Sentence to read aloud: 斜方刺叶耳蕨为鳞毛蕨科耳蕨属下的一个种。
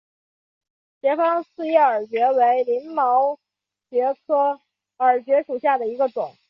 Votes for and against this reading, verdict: 5, 0, accepted